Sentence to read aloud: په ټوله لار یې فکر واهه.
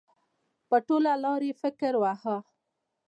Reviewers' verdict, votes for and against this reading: accepted, 2, 0